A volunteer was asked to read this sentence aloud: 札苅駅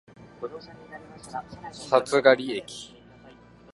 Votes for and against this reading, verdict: 3, 0, accepted